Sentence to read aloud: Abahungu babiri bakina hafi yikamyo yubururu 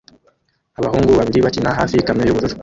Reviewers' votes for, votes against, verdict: 0, 2, rejected